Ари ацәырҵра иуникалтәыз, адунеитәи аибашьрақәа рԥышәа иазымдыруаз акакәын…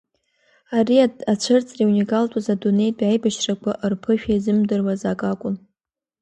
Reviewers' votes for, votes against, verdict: 2, 0, accepted